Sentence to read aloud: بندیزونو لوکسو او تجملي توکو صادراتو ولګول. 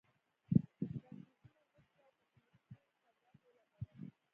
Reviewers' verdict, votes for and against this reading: rejected, 1, 2